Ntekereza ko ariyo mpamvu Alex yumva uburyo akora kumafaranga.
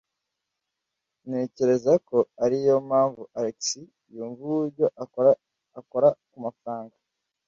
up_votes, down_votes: 0, 2